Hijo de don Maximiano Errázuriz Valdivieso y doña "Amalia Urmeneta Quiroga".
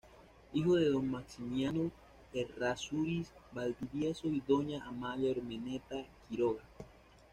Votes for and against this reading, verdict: 2, 1, accepted